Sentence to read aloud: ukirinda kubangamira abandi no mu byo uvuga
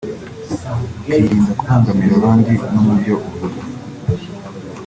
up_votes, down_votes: 2, 0